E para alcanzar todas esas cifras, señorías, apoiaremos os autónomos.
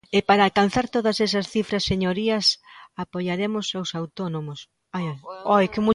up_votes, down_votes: 0, 2